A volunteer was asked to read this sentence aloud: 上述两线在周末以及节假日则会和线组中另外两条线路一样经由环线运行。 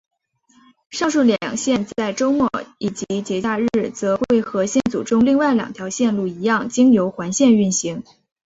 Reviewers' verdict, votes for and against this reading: accepted, 4, 0